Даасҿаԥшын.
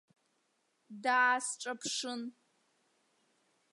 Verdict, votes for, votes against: accepted, 2, 0